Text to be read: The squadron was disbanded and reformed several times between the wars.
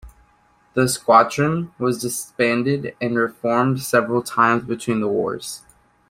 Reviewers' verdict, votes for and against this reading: accepted, 2, 0